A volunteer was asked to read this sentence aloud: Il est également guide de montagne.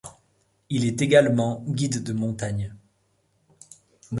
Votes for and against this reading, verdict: 2, 0, accepted